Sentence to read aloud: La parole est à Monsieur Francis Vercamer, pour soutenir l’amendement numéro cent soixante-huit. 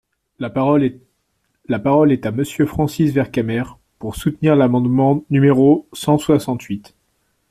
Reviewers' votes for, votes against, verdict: 1, 2, rejected